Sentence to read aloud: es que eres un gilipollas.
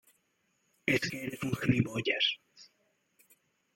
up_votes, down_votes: 0, 2